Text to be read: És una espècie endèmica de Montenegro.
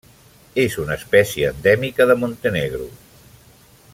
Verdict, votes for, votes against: accepted, 3, 0